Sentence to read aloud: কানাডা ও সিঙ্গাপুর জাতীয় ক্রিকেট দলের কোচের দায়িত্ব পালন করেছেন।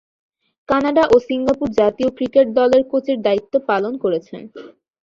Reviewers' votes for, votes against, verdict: 2, 0, accepted